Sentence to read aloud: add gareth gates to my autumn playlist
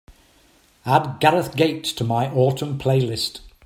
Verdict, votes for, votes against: accepted, 2, 0